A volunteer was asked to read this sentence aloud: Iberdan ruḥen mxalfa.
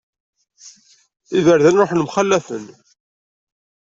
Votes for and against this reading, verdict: 1, 2, rejected